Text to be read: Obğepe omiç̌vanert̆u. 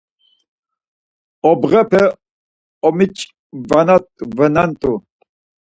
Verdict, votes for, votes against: rejected, 0, 4